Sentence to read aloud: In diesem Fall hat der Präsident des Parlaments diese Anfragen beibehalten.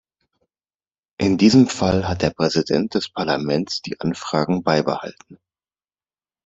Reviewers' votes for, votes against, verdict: 1, 2, rejected